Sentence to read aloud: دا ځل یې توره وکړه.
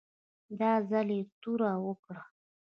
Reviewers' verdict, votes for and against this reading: accepted, 2, 0